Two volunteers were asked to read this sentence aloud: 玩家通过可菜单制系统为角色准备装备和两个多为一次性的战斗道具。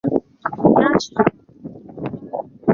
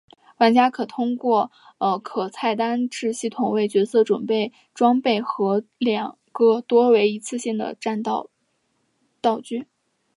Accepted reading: second